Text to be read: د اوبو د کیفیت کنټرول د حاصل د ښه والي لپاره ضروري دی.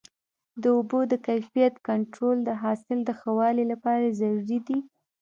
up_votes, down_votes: 1, 2